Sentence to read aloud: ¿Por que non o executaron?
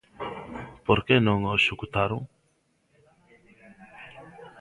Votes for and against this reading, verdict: 2, 0, accepted